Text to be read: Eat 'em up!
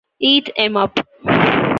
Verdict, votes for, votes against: accepted, 2, 1